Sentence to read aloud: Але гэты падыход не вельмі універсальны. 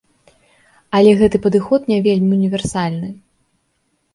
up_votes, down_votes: 3, 0